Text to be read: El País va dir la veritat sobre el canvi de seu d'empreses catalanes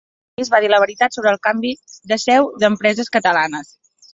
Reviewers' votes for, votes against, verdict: 0, 2, rejected